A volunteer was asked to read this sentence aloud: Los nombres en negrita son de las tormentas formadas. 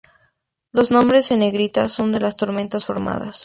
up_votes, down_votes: 2, 0